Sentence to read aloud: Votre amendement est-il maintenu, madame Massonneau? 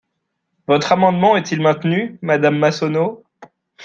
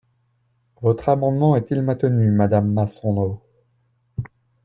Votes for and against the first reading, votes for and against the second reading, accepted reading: 2, 0, 2, 3, first